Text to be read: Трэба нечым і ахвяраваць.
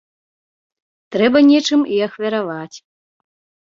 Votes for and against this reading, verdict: 2, 0, accepted